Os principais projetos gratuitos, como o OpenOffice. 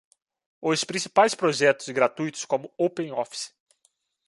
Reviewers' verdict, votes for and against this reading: rejected, 0, 2